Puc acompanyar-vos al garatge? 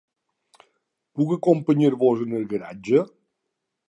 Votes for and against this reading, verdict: 1, 2, rejected